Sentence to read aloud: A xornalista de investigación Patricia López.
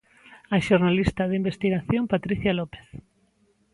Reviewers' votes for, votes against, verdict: 2, 0, accepted